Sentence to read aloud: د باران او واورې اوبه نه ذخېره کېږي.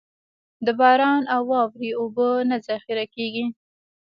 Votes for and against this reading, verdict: 2, 1, accepted